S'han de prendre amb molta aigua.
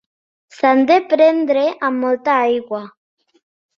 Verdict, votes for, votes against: accepted, 2, 0